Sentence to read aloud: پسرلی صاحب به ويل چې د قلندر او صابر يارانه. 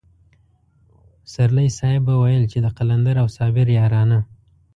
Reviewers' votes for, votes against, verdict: 3, 0, accepted